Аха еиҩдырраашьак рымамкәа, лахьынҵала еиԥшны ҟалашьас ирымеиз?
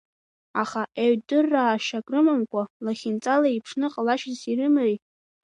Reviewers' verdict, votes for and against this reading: rejected, 0, 2